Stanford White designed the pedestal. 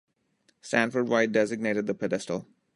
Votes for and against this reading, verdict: 0, 2, rejected